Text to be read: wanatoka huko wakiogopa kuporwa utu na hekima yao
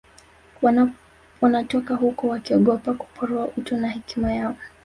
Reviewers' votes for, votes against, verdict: 1, 2, rejected